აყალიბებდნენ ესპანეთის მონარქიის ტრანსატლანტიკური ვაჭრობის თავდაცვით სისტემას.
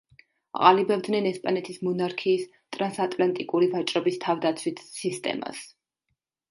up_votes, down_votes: 0, 2